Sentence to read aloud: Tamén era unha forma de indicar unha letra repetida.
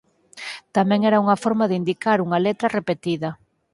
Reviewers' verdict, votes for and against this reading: accepted, 4, 0